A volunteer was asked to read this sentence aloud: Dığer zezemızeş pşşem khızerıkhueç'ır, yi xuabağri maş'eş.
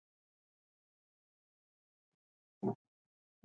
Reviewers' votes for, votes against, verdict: 0, 2, rejected